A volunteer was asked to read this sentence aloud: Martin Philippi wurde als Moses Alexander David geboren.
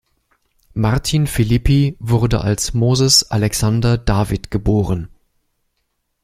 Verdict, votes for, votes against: accepted, 2, 0